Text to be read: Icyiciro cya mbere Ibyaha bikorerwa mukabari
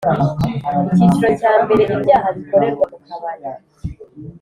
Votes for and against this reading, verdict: 2, 0, accepted